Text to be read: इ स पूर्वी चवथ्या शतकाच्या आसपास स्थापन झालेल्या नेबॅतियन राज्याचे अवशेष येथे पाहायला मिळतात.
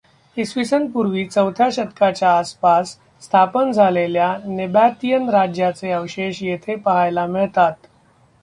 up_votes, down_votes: 0, 2